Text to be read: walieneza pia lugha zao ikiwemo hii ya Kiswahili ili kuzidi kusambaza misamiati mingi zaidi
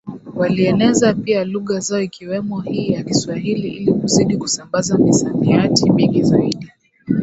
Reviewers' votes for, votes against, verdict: 2, 1, accepted